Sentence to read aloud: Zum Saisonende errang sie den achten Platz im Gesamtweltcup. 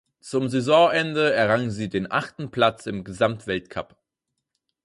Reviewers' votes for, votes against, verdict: 4, 0, accepted